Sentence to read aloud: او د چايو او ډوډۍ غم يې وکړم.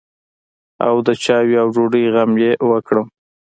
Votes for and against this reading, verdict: 2, 0, accepted